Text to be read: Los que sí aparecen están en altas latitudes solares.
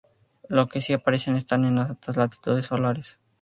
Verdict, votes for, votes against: rejected, 2, 2